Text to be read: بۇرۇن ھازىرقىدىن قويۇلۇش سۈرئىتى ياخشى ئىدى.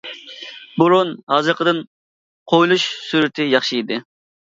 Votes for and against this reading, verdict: 2, 0, accepted